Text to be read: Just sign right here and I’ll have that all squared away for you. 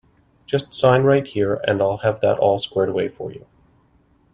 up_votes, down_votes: 2, 0